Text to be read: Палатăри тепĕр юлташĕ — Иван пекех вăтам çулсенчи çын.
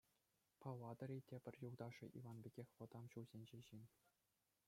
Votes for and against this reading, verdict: 2, 1, accepted